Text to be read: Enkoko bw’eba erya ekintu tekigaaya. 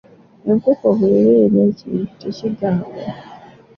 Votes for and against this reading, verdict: 2, 1, accepted